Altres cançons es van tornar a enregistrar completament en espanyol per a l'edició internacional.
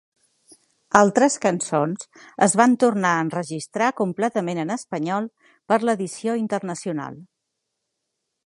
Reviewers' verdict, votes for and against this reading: accepted, 2, 0